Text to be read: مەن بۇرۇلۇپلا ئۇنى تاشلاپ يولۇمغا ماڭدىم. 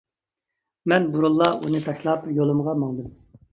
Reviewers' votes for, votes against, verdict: 0, 2, rejected